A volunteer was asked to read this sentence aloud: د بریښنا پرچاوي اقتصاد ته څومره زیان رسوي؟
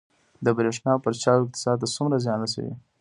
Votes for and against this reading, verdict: 1, 2, rejected